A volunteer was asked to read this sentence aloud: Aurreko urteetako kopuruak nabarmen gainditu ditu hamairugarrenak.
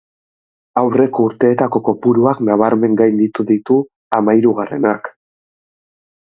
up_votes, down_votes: 2, 0